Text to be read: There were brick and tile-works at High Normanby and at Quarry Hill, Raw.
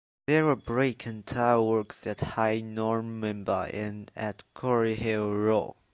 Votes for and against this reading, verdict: 2, 0, accepted